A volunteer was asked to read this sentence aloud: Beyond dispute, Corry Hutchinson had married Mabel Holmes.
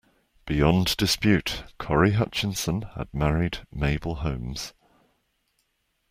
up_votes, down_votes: 2, 0